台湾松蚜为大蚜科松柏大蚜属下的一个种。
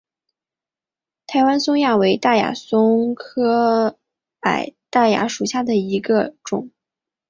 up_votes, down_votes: 0, 2